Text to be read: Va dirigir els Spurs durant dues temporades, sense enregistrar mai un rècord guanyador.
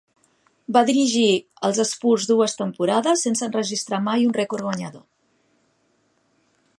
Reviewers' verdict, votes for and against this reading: rejected, 0, 2